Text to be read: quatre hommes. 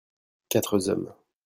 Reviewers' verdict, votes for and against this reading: rejected, 1, 2